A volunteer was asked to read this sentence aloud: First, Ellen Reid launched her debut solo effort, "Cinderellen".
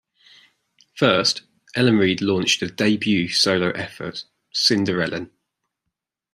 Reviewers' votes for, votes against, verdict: 2, 0, accepted